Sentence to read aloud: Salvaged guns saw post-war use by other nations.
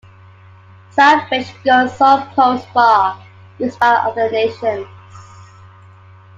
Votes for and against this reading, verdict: 2, 0, accepted